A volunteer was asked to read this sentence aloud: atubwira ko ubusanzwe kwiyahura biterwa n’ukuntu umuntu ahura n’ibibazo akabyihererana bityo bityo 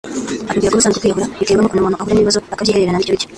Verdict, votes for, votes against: rejected, 0, 2